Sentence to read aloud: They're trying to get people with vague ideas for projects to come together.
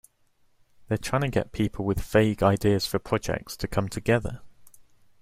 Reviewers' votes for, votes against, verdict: 2, 1, accepted